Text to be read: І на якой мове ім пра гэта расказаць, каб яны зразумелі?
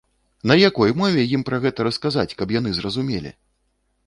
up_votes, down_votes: 0, 2